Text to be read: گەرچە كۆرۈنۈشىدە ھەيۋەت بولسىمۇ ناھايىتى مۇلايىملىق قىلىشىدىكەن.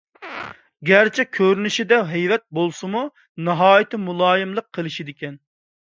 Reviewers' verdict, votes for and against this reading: rejected, 0, 2